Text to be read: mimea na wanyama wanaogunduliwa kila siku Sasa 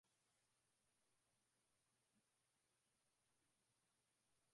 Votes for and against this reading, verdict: 0, 2, rejected